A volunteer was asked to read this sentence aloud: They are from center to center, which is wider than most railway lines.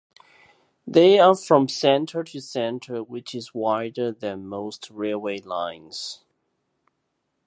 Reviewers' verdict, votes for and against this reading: accepted, 3, 0